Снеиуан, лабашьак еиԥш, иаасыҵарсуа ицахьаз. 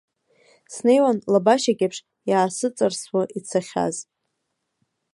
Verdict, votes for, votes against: accepted, 3, 0